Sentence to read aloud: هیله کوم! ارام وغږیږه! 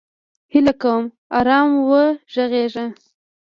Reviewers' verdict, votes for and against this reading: rejected, 1, 2